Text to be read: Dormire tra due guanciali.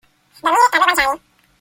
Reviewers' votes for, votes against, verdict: 0, 2, rejected